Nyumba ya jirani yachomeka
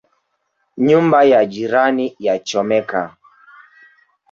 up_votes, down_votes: 3, 1